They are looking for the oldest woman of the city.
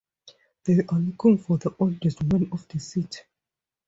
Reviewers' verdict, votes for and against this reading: rejected, 0, 4